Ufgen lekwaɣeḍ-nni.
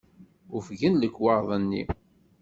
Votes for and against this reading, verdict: 2, 0, accepted